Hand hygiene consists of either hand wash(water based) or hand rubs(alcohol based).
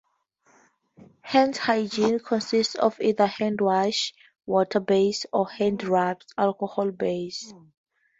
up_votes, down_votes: 2, 0